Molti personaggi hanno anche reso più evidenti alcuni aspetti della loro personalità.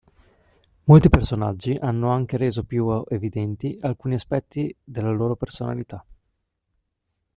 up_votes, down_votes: 0, 2